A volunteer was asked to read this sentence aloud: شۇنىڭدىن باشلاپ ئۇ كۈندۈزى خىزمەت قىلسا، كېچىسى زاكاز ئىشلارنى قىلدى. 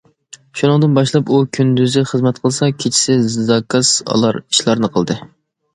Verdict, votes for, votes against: rejected, 0, 2